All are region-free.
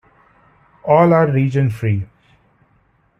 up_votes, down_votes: 2, 0